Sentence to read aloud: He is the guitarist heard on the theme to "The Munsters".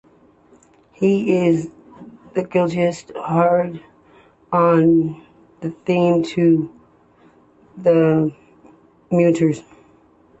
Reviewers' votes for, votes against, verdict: 0, 2, rejected